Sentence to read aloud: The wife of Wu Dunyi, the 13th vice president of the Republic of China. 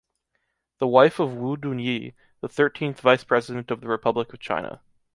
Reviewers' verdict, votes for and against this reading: rejected, 0, 2